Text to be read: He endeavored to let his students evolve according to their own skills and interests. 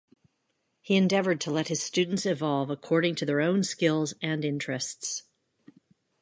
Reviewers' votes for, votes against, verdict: 2, 0, accepted